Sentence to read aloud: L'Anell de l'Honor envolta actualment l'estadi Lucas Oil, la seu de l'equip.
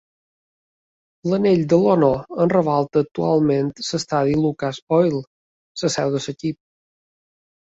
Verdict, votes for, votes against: rejected, 0, 2